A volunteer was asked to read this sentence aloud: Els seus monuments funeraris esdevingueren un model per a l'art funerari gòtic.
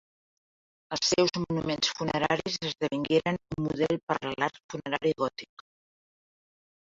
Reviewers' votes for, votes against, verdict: 2, 0, accepted